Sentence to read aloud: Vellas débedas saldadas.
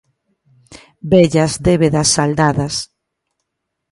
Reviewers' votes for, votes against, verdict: 2, 0, accepted